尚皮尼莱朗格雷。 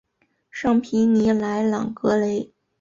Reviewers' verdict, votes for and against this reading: accepted, 5, 0